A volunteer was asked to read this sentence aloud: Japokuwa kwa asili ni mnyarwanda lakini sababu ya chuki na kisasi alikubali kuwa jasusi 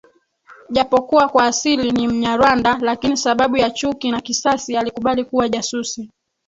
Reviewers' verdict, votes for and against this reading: rejected, 2, 3